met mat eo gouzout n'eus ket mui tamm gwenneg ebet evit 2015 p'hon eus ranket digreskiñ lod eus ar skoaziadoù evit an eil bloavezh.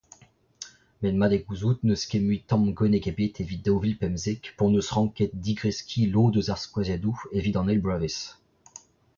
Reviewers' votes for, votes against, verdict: 0, 2, rejected